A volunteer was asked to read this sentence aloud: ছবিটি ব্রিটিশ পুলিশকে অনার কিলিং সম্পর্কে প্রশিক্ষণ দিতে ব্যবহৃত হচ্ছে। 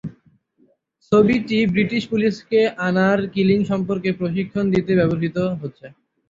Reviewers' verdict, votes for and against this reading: rejected, 0, 6